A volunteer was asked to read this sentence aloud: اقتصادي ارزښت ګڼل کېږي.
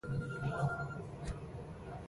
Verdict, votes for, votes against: rejected, 1, 6